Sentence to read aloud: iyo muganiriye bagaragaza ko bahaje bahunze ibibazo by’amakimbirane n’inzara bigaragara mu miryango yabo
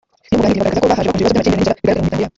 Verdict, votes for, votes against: rejected, 1, 2